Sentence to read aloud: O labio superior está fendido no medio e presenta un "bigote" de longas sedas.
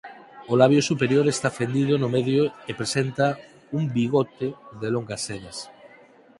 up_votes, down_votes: 4, 0